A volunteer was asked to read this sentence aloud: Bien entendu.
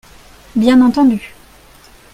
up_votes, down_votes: 2, 0